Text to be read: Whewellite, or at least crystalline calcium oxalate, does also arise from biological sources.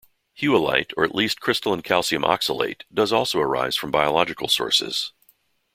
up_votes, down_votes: 2, 0